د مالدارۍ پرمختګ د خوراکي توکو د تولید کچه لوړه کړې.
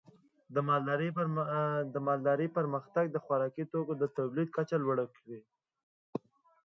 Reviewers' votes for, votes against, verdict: 1, 2, rejected